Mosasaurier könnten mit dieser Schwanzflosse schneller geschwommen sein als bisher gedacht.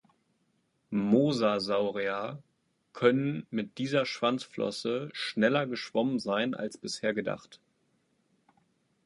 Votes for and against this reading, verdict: 0, 2, rejected